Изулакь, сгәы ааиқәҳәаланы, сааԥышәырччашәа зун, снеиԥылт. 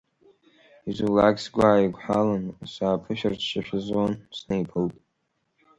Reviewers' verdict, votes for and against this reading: accepted, 2, 0